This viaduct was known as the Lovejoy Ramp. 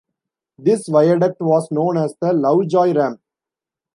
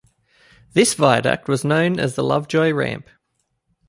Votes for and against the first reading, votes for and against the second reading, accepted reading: 1, 2, 2, 0, second